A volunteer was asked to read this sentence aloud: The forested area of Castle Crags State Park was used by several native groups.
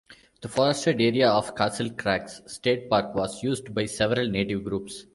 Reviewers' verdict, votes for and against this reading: accepted, 2, 0